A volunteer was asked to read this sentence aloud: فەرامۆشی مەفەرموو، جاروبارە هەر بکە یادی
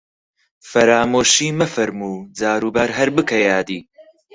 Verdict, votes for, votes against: accepted, 4, 0